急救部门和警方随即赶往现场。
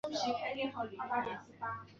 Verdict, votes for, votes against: accepted, 4, 1